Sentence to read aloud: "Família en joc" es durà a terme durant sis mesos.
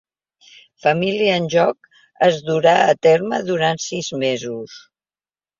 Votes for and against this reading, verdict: 2, 0, accepted